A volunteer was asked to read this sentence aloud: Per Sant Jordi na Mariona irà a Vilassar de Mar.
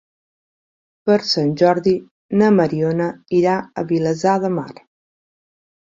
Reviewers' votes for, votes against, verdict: 1, 2, rejected